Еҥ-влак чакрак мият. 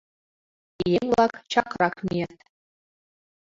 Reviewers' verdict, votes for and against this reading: accepted, 2, 1